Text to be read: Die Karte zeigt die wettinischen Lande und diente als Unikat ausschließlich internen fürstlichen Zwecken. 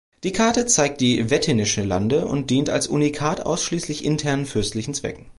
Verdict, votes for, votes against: accepted, 2, 1